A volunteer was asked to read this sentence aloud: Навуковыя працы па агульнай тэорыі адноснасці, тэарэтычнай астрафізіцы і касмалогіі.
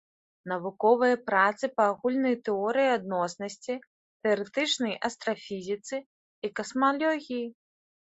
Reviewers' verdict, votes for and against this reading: accepted, 2, 1